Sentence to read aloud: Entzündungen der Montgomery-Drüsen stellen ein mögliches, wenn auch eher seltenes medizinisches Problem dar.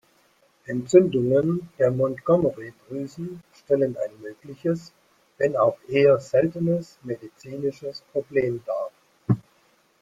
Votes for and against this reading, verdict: 2, 1, accepted